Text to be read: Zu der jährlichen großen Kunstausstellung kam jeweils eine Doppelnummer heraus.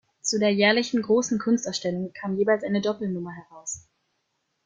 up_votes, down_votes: 2, 0